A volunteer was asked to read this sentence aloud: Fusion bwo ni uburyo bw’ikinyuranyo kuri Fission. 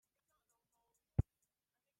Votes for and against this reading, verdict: 0, 2, rejected